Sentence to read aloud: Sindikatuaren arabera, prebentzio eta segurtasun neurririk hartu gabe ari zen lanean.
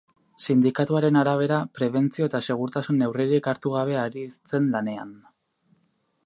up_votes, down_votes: 0, 2